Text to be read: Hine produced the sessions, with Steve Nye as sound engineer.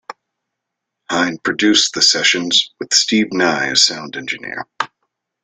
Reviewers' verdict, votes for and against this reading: accepted, 3, 0